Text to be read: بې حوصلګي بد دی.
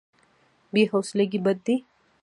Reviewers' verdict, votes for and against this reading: accepted, 2, 1